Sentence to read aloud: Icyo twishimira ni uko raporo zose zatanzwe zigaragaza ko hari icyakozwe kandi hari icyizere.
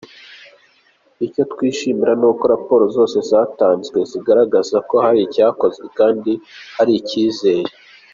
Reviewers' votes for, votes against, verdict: 3, 1, accepted